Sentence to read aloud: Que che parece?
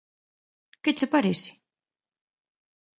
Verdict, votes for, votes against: accepted, 2, 0